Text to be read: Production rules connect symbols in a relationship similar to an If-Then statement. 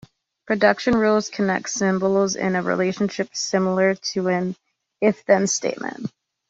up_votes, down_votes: 3, 0